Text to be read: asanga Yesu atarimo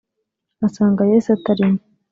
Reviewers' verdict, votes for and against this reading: rejected, 1, 2